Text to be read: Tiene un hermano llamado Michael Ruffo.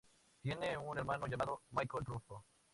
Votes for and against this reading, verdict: 0, 2, rejected